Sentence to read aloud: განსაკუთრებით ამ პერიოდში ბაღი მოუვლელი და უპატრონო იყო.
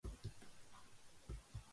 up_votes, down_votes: 0, 2